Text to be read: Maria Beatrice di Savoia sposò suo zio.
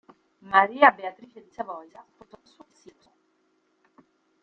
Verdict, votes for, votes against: rejected, 0, 2